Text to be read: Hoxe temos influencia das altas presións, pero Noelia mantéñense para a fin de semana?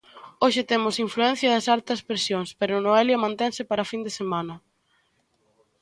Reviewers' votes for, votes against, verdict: 0, 2, rejected